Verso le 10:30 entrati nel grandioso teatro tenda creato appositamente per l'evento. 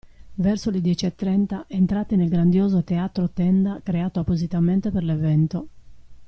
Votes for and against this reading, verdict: 0, 2, rejected